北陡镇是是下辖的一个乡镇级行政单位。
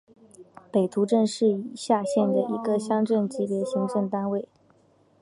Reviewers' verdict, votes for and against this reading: accepted, 2, 0